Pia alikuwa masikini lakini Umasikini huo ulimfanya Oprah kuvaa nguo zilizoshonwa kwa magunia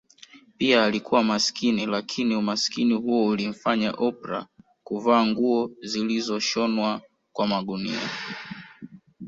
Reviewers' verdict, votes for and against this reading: accepted, 2, 0